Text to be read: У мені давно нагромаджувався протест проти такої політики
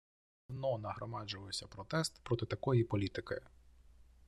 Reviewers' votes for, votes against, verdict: 0, 2, rejected